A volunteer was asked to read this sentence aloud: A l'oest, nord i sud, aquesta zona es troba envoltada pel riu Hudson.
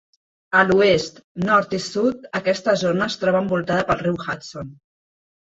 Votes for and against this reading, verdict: 2, 0, accepted